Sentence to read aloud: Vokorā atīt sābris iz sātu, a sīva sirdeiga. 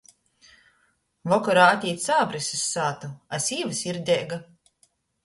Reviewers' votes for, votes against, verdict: 2, 0, accepted